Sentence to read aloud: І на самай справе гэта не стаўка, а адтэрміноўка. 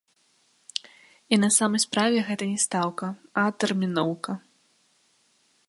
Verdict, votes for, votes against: accepted, 2, 0